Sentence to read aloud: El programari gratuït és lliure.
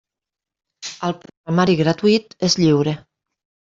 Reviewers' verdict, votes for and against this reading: rejected, 0, 2